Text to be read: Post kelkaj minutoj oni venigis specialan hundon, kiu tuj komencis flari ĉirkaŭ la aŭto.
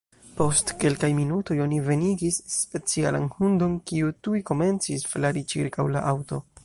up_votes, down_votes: 1, 2